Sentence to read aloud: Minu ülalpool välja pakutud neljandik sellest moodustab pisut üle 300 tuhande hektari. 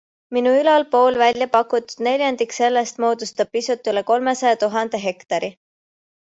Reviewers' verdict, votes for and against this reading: rejected, 0, 2